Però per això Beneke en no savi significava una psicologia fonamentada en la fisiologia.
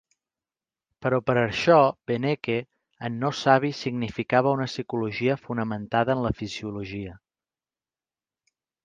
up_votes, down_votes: 2, 0